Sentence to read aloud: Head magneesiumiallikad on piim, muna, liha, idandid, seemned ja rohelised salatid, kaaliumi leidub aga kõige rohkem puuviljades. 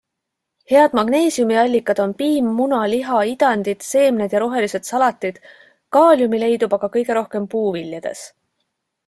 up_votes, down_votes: 2, 0